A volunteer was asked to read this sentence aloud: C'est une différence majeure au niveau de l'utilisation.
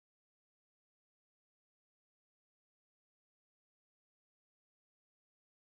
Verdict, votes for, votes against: rejected, 0, 2